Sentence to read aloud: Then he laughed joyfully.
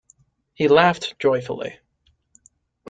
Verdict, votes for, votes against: rejected, 0, 2